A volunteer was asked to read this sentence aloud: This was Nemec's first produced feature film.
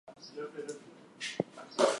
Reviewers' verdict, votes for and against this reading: rejected, 0, 2